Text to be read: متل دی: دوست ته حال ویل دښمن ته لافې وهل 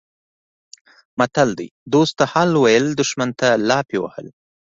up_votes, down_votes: 3, 0